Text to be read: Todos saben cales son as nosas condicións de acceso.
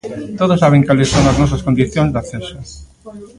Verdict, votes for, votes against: rejected, 0, 2